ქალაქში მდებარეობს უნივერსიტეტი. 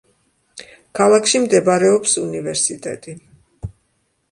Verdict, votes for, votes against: accepted, 2, 0